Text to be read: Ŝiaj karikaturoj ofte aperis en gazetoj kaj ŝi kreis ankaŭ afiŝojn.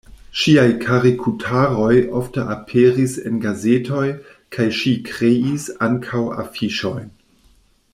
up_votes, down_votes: 1, 2